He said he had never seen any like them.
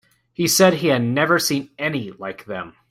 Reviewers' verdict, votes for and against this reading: accepted, 2, 0